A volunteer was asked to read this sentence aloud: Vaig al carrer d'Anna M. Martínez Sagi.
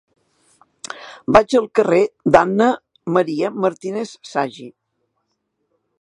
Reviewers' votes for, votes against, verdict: 0, 2, rejected